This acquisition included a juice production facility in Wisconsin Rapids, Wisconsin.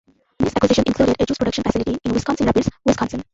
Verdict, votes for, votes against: rejected, 0, 2